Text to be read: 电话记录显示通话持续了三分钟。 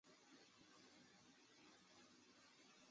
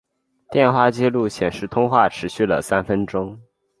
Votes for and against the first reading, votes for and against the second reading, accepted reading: 0, 2, 7, 0, second